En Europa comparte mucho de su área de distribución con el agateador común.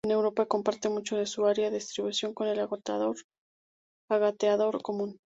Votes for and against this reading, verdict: 0, 2, rejected